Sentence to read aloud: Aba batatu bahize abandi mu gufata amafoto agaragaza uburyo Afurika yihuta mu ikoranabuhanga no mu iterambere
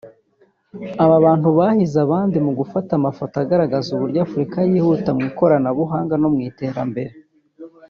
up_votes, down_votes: 2, 3